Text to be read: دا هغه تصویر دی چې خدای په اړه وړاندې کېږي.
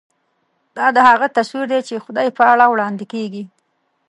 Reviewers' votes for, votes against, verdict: 0, 2, rejected